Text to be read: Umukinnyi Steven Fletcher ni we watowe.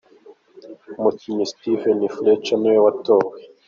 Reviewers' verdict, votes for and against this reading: accepted, 2, 0